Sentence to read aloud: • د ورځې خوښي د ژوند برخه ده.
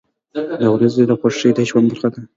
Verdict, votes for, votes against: accepted, 2, 1